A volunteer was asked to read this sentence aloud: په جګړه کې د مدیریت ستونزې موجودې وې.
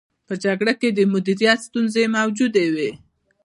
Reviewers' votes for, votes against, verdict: 1, 2, rejected